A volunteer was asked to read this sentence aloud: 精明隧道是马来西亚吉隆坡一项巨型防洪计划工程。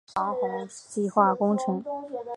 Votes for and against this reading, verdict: 0, 2, rejected